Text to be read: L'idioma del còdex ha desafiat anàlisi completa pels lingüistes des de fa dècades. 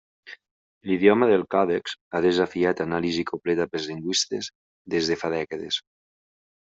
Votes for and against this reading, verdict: 1, 2, rejected